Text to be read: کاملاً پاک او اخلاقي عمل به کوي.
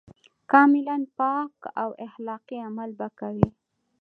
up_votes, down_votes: 2, 0